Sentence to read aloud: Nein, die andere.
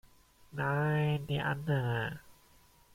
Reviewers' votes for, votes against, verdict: 2, 1, accepted